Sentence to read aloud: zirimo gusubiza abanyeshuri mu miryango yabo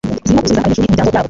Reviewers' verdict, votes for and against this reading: rejected, 1, 2